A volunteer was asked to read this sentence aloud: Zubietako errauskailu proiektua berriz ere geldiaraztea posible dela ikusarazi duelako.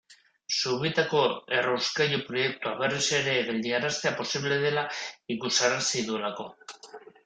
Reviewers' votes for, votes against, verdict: 2, 1, accepted